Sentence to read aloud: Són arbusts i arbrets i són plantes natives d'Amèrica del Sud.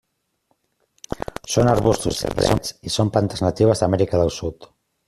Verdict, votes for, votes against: rejected, 0, 2